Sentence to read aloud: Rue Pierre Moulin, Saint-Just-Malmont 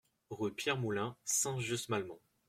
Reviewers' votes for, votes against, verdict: 2, 0, accepted